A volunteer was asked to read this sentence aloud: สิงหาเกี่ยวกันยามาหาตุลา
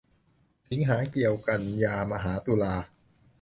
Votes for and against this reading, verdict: 2, 0, accepted